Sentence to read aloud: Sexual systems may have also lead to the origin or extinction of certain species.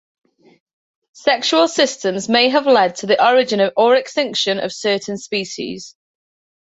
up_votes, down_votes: 0, 2